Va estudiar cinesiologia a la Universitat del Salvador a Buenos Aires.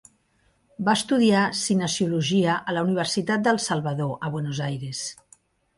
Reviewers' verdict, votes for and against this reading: accepted, 2, 0